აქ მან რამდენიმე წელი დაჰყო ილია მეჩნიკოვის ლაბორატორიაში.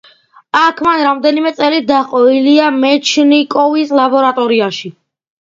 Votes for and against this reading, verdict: 2, 0, accepted